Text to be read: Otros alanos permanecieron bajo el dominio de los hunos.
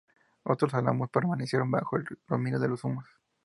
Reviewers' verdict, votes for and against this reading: rejected, 0, 2